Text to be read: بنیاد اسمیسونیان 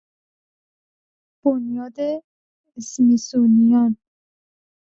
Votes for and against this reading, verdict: 0, 2, rejected